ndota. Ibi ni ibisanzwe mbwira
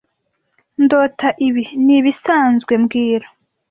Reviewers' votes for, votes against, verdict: 2, 0, accepted